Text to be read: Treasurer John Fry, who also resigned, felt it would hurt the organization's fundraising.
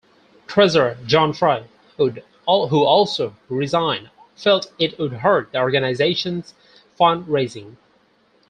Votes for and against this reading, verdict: 0, 4, rejected